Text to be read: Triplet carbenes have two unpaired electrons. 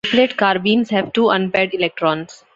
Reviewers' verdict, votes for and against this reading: rejected, 1, 2